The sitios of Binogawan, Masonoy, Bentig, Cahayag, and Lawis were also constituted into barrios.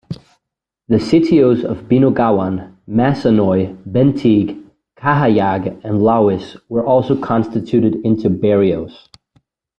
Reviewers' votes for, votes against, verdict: 2, 0, accepted